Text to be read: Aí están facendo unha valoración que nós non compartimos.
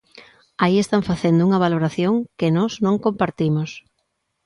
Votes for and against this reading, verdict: 2, 0, accepted